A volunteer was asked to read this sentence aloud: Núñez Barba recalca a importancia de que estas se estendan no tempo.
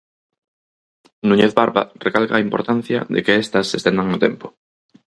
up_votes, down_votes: 4, 0